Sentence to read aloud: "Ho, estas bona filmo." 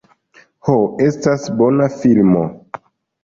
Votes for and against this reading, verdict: 3, 0, accepted